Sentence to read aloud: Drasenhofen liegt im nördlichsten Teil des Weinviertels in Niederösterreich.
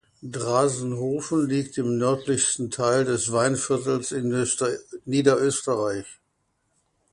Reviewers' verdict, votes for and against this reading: rejected, 0, 2